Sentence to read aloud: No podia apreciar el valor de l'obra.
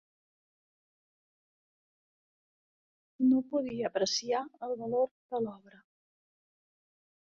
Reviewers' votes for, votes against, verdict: 1, 2, rejected